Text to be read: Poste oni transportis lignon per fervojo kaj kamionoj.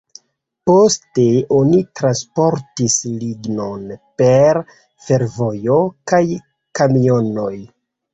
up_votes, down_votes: 1, 2